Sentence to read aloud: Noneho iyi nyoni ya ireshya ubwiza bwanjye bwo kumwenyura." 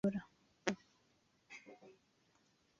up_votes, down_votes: 1, 2